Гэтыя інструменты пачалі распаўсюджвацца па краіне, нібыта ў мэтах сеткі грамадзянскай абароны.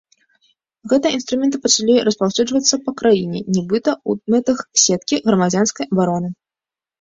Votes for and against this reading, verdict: 2, 0, accepted